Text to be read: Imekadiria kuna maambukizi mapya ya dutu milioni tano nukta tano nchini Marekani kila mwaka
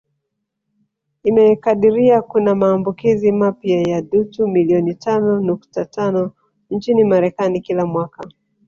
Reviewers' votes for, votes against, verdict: 3, 1, accepted